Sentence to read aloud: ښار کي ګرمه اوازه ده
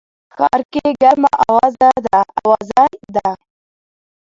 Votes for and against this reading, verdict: 0, 2, rejected